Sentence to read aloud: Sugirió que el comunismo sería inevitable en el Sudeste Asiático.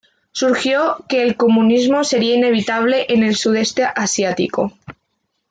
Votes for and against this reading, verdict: 1, 2, rejected